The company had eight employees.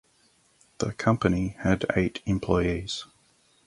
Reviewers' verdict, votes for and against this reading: accepted, 4, 0